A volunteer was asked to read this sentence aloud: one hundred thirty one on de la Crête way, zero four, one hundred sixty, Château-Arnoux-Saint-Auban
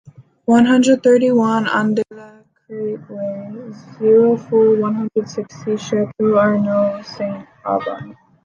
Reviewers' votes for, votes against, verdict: 2, 1, accepted